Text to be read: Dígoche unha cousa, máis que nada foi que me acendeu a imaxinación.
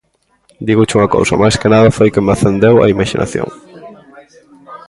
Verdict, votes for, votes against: rejected, 1, 2